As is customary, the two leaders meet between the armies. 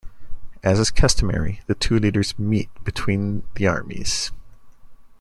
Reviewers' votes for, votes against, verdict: 2, 0, accepted